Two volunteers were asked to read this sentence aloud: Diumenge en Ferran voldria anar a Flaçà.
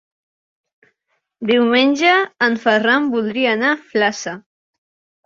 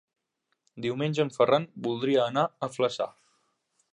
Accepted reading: second